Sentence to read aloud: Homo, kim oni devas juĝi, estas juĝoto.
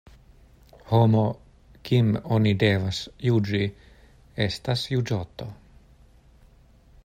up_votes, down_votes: 2, 0